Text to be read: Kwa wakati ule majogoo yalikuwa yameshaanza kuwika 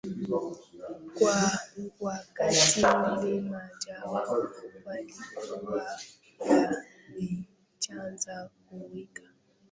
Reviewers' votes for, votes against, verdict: 0, 2, rejected